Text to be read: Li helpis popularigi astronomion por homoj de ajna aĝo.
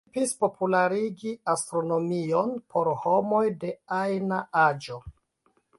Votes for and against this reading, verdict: 0, 2, rejected